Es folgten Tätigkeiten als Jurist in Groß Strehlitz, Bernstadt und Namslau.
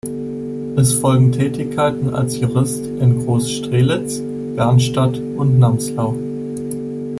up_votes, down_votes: 0, 2